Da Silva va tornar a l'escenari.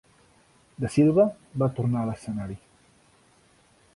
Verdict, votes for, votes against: accepted, 2, 1